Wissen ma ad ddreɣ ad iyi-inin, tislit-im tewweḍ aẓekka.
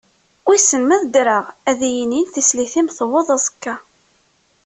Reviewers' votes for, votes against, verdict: 2, 0, accepted